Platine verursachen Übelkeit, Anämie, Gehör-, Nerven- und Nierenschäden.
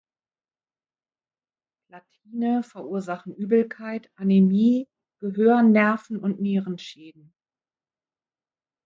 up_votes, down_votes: 1, 2